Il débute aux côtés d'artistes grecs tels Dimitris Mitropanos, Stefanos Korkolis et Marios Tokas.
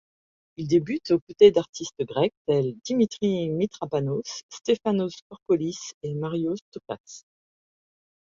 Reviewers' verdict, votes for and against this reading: rejected, 1, 2